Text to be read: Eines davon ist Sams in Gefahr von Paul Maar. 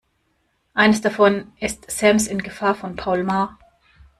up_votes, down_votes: 1, 2